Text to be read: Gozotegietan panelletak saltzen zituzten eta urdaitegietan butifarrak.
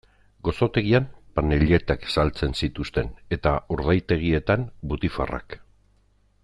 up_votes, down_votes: 0, 2